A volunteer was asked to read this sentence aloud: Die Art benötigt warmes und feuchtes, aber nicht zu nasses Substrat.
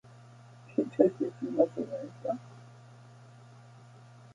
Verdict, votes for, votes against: rejected, 0, 2